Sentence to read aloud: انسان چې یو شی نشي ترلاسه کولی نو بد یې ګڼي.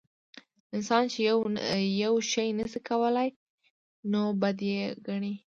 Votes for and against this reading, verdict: 0, 2, rejected